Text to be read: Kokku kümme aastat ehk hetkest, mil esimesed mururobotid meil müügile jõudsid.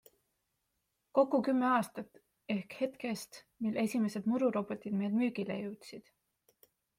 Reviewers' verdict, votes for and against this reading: accepted, 2, 0